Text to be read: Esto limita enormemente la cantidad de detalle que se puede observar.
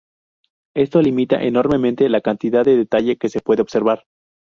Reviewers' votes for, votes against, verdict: 2, 0, accepted